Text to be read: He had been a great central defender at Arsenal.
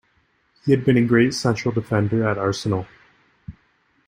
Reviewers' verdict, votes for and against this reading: accepted, 2, 0